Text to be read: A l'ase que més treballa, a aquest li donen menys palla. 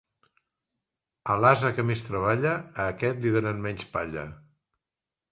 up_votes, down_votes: 2, 0